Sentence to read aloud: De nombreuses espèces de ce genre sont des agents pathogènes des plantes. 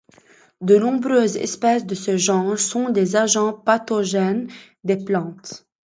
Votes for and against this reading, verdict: 2, 0, accepted